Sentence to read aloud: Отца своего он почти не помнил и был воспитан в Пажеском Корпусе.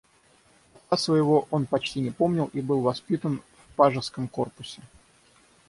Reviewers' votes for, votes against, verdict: 3, 6, rejected